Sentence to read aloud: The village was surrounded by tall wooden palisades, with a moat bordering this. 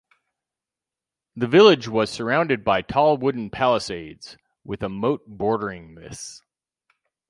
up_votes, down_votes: 2, 2